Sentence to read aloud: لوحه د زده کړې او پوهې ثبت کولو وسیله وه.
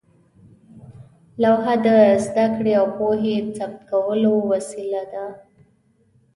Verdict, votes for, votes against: accepted, 2, 0